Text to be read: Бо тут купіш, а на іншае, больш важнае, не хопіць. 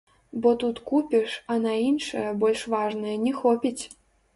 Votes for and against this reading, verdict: 1, 2, rejected